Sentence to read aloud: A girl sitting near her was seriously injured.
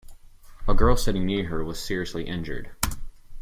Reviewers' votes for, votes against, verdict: 0, 2, rejected